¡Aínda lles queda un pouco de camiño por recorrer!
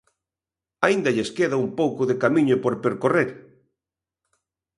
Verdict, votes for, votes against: rejected, 0, 3